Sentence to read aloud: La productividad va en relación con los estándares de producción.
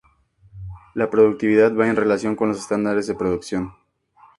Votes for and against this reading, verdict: 4, 0, accepted